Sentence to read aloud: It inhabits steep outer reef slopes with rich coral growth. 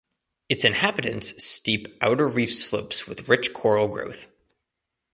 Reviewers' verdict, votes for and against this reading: rejected, 1, 2